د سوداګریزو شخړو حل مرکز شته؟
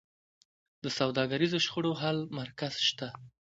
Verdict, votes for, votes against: accepted, 2, 0